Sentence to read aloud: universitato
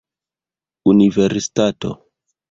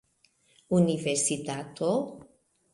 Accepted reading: second